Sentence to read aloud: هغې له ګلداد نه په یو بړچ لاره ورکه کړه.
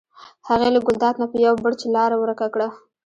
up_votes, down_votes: 1, 2